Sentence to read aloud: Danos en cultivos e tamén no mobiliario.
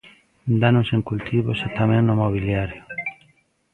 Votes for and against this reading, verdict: 1, 2, rejected